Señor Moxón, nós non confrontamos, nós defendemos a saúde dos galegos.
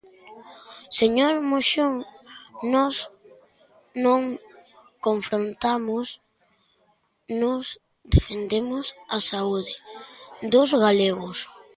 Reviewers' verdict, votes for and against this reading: accepted, 2, 0